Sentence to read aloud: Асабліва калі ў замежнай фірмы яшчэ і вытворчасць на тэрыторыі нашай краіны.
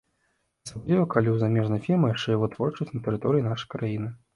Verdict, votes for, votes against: rejected, 0, 2